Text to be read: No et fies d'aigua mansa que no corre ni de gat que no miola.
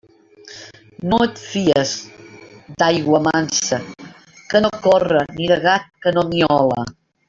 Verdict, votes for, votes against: rejected, 0, 2